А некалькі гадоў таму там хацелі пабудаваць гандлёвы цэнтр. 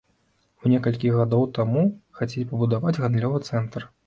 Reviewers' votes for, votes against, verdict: 0, 2, rejected